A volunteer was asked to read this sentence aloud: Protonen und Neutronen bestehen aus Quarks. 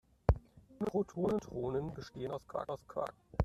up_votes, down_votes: 0, 2